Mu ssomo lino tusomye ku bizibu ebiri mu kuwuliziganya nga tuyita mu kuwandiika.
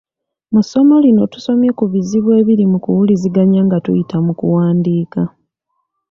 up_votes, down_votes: 2, 0